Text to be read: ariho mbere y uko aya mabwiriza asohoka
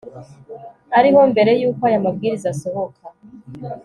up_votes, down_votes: 2, 0